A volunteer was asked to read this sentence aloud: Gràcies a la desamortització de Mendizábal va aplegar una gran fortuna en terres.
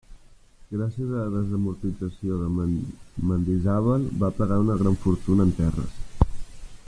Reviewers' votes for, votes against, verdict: 1, 2, rejected